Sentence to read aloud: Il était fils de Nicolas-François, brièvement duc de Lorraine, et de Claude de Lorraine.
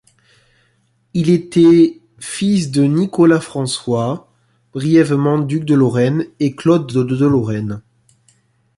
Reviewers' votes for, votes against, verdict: 1, 2, rejected